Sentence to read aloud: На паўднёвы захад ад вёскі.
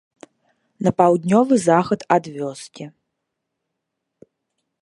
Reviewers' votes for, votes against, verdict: 2, 0, accepted